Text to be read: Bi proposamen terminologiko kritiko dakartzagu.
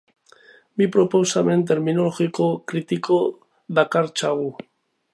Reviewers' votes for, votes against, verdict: 2, 0, accepted